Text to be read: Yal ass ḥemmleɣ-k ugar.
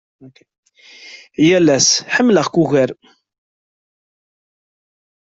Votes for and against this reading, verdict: 2, 0, accepted